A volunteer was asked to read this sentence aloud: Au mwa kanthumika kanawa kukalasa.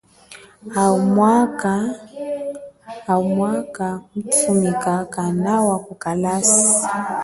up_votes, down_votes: 1, 2